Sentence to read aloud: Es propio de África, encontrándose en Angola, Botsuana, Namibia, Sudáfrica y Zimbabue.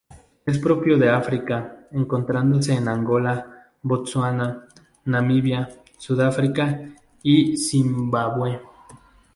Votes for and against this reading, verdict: 2, 0, accepted